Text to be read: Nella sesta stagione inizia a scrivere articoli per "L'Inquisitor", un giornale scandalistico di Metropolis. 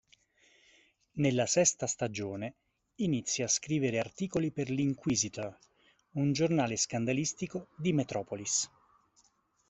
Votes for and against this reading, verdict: 2, 1, accepted